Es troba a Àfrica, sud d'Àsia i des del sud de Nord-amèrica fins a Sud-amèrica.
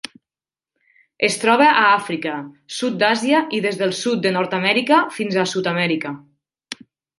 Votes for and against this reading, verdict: 2, 0, accepted